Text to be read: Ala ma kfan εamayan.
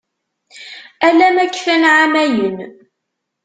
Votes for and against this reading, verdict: 2, 1, accepted